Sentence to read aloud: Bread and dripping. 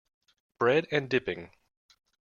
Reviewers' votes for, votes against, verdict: 0, 2, rejected